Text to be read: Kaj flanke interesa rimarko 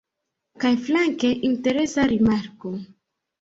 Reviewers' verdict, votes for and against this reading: accepted, 2, 0